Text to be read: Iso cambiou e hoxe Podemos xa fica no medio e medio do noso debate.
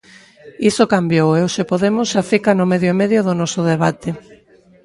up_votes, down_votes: 1, 2